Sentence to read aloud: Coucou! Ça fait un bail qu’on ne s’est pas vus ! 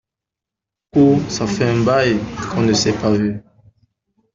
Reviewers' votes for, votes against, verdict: 0, 2, rejected